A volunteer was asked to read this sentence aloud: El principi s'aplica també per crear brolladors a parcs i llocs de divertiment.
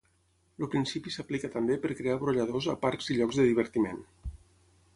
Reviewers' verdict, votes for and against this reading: accepted, 6, 0